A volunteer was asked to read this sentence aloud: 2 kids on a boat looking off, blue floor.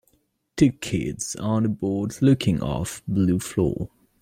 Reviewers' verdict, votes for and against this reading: rejected, 0, 2